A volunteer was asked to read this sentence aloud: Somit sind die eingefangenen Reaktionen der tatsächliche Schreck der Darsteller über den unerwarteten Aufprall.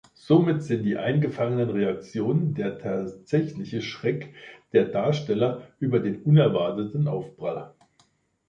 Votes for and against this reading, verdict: 1, 2, rejected